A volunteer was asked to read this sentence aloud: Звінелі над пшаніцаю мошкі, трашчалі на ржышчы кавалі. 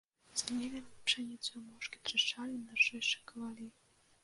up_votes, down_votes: 0, 2